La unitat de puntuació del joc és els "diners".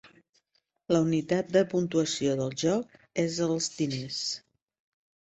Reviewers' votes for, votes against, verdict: 2, 0, accepted